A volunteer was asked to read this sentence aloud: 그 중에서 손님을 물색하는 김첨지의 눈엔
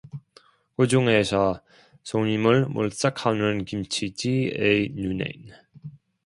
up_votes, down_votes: 0, 2